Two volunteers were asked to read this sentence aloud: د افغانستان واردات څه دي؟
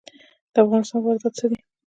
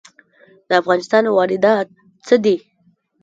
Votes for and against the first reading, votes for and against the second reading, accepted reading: 1, 2, 2, 0, second